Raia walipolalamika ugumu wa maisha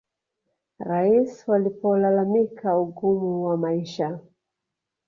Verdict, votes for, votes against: rejected, 1, 2